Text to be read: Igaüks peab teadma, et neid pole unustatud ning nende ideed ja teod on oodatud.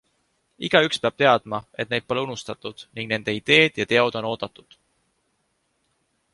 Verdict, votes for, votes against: accepted, 2, 0